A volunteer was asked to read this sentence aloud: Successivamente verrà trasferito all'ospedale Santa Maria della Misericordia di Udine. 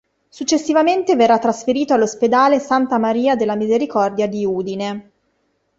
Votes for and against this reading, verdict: 2, 0, accepted